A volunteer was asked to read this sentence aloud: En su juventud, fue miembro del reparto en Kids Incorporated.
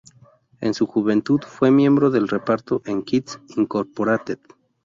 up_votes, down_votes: 2, 0